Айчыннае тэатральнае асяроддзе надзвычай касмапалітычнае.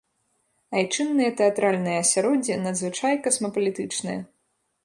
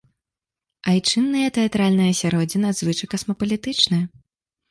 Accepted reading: second